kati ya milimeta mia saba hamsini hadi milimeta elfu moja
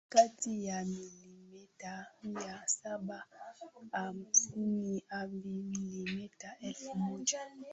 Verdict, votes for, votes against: accepted, 24, 3